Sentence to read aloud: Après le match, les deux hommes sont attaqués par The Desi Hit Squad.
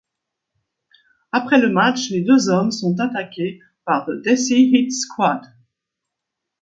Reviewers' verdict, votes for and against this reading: accepted, 2, 0